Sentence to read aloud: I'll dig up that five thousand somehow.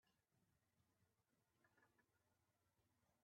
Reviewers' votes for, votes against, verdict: 1, 22, rejected